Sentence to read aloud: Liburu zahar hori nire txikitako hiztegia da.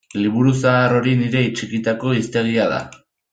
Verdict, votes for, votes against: rejected, 1, 2